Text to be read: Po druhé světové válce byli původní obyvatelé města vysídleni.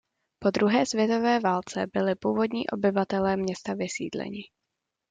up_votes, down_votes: 2, 0